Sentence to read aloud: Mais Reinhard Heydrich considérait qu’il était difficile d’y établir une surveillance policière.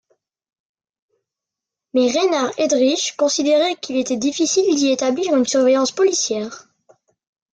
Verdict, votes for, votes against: accepted, 2, 0